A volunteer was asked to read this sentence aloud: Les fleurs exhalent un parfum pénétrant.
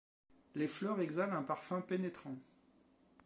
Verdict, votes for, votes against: accepted, 2, 0